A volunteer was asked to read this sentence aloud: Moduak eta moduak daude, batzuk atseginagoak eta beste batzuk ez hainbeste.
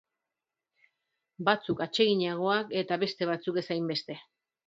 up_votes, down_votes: 0, 3